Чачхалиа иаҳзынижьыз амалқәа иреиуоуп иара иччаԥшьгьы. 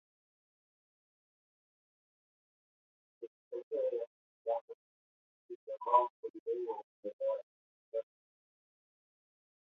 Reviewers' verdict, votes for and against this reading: rejected, 0, 2